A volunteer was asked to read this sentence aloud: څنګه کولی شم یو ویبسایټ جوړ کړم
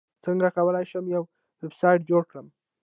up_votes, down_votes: 0, 2